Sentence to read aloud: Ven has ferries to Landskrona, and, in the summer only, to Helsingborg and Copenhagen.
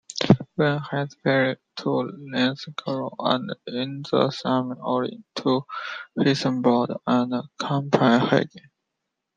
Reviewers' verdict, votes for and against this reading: rejected, 0, 2